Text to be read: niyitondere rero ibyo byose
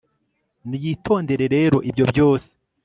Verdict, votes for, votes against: accepted, 4, 0